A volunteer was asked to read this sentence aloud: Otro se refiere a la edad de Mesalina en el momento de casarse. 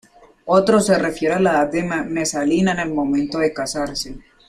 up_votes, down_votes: 0, 2